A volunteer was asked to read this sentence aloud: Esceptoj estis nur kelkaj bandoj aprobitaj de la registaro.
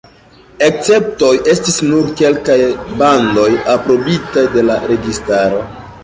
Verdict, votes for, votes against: accepted, 3, 0